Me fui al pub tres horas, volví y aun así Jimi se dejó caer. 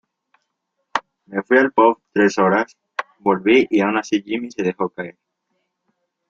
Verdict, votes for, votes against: accepted, 2, 0